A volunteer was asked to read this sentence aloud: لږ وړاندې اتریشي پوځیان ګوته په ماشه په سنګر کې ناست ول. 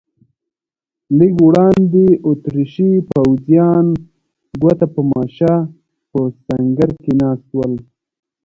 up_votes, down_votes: 1, 2